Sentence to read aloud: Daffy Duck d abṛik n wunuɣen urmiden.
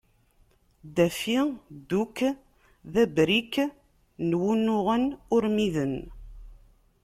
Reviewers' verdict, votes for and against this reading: rejected, 1, 2